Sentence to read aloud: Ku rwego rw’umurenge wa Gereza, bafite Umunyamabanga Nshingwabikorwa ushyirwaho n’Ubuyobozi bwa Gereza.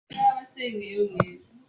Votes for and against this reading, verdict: 0, 2, rejected